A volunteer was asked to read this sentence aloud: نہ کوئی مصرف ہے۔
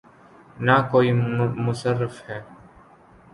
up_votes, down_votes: 1, 2